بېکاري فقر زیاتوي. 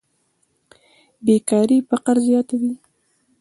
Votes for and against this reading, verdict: 2, 1, accepted